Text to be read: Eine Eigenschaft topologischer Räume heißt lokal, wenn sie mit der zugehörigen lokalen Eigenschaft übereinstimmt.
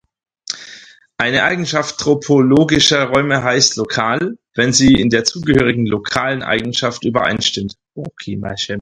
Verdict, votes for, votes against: rejected, 0, 4